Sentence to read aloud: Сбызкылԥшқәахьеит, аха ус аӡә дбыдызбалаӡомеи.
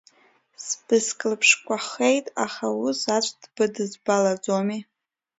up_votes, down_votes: 0, 2